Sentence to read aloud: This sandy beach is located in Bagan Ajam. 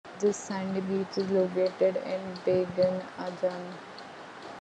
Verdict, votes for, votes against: accepted, 2, 0